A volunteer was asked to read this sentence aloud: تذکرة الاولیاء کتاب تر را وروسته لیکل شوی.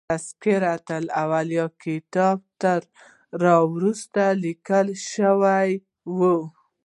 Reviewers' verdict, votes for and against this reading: rejected, 1, 2